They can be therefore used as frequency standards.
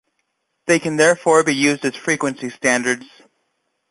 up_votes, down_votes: 1, 2